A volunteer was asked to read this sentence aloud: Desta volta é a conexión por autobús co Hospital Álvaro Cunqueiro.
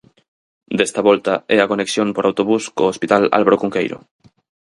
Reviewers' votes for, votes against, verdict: 4, 0, accepted